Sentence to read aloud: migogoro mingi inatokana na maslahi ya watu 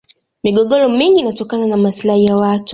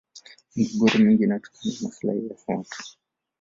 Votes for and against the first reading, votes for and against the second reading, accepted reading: 2, 0, 1, 2, first